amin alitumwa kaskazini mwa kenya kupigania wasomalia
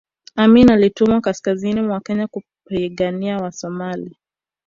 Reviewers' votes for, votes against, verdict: 2, 0, accepted